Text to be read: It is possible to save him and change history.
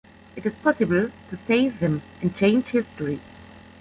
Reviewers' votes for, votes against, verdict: 2, 1, accepted